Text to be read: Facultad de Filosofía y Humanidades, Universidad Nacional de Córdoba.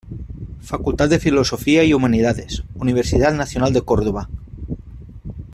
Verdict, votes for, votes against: accepted, 2, 0